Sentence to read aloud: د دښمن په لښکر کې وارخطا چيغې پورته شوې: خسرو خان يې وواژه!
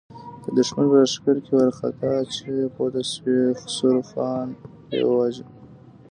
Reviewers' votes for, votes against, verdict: 1, 2, rejected